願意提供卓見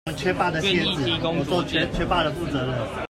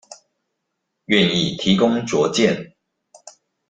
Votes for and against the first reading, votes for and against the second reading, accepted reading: 0, 2, 2, 0, second